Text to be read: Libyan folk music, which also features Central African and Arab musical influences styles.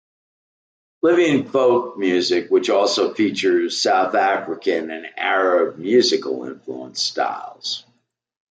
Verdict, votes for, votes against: rejected, 0, 2